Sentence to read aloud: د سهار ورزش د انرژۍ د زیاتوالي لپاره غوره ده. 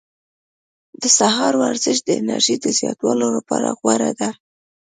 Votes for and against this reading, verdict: 2, 0, accepted